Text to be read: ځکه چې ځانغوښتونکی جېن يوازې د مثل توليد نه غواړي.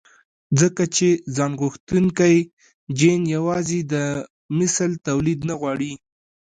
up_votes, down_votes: 2, 0